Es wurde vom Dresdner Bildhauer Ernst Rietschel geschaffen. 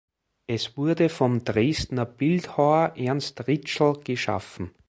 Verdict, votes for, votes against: accepted, 2, 0